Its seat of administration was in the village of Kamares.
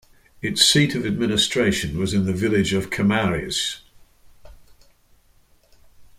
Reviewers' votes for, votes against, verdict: 2, 0, accepted